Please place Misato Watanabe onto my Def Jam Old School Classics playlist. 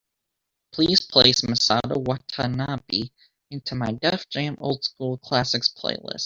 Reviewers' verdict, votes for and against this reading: accepted, 2, 0